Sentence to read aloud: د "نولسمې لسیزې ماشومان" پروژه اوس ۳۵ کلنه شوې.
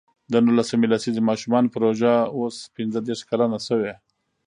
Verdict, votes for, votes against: rejected, 0, 2